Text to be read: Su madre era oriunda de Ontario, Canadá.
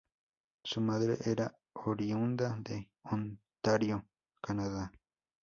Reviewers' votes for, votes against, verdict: 2, 0, accepted